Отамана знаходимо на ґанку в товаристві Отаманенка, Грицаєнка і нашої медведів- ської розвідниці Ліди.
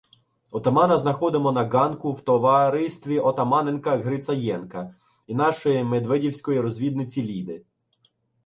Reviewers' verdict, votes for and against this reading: rejected, 0, 2